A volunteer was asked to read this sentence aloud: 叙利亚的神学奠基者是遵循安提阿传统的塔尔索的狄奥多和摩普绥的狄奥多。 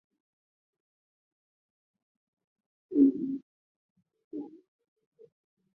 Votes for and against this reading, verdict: 0, 4, rejected